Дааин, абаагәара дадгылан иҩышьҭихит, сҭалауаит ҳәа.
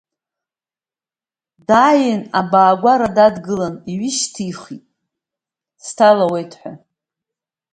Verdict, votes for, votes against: rejected, 1, 2